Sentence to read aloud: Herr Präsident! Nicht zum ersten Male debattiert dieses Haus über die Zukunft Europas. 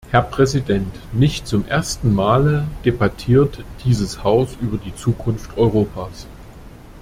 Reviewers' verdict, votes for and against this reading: accepted, 2, 0